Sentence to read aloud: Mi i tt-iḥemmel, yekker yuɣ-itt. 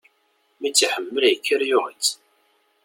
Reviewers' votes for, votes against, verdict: 2, 0, accepted